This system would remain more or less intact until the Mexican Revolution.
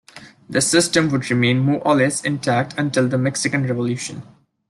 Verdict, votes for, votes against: accepted, 2, 0